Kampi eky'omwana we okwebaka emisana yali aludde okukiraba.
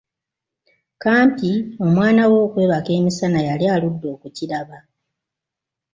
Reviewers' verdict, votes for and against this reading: rejected, 1, 2